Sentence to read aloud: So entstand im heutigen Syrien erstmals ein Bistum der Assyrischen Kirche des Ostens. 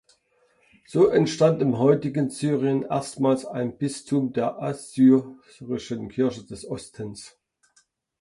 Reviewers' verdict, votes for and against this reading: accepted, 2, 1